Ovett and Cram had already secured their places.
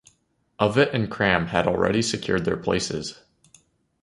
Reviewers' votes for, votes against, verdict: 2, 0, accepted